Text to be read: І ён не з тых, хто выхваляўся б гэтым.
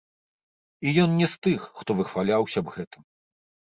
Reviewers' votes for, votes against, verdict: 1, 2, rejected